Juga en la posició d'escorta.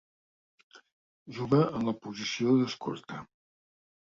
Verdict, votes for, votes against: accepted, 2, 0